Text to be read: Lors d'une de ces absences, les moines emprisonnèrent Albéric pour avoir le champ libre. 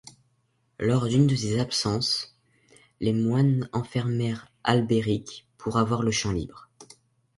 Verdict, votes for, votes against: rejected, 0, 2